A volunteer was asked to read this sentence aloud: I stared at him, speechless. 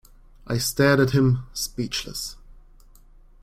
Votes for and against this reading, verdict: 2, 0, accepted